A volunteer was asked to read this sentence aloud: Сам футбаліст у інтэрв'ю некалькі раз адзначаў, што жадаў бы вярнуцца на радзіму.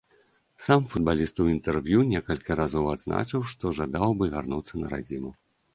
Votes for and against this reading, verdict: 1, 2, rejected